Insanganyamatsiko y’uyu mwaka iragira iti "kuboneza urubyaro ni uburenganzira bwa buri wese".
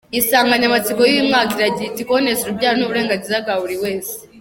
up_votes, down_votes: 2, 1